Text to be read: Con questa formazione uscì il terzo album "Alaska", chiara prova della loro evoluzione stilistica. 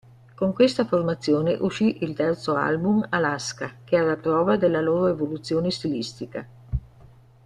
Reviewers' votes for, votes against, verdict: 2, 0, accepted